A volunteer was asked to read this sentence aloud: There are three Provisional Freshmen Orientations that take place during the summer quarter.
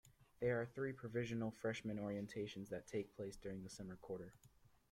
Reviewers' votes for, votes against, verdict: 2, 1, accepted